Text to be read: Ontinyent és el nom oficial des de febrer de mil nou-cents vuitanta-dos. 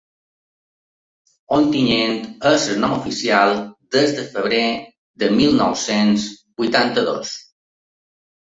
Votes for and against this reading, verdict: 4, 1, accepted